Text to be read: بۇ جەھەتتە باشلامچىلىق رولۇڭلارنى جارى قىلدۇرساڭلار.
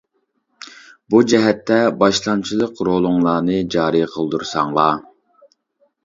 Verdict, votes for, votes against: accepted, 2, 0